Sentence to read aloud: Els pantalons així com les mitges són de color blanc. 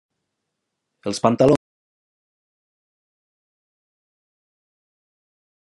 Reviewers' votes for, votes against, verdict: 0, 2, rejected